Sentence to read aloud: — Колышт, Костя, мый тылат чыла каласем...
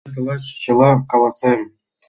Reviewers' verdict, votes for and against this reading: rejected, 1, 2